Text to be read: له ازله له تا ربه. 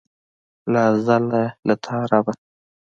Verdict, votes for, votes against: accepted, 2, 1